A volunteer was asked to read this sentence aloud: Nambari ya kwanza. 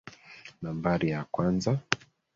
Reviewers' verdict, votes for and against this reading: rejected, 1, 2